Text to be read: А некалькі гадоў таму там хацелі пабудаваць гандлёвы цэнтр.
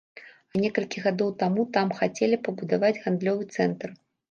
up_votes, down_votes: 2, 0